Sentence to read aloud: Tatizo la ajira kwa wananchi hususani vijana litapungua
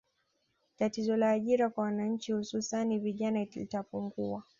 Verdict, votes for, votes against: accepted, 2, 0